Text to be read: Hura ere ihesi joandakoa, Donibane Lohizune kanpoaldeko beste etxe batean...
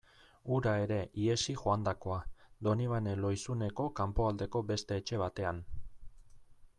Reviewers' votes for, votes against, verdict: 0, 2, rejected